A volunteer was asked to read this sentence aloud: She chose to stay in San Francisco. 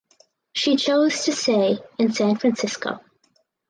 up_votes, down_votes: 4, 0